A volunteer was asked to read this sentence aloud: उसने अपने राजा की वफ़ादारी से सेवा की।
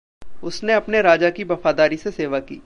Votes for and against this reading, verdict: 2, 0, accepted